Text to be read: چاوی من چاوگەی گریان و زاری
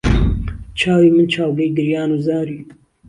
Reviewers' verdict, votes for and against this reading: accepted, 2, 0